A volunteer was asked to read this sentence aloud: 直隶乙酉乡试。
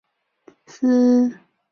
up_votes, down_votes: 0, 2